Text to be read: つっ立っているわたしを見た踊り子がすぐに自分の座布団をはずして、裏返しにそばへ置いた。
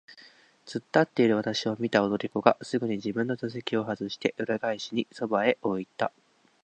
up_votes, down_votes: 8, 0